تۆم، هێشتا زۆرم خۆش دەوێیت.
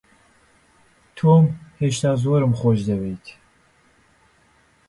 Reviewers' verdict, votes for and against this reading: accepted, 2, 0